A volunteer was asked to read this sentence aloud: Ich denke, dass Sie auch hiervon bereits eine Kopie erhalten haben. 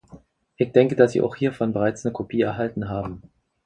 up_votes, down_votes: 2, 4